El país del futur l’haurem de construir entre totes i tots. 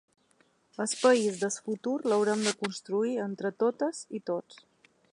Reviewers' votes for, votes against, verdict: 0, 2, rejected